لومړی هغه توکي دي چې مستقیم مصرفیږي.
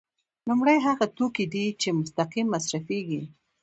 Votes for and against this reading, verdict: 1, 2, rejected